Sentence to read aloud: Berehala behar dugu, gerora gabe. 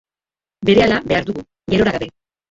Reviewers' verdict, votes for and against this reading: rejected, 0, 2